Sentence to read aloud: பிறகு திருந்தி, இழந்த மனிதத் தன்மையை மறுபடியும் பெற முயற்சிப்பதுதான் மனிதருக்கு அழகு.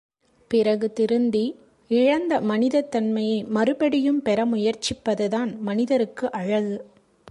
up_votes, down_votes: 2, 0